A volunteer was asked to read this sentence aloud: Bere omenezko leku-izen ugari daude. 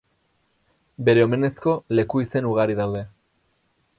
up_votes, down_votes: 2, 2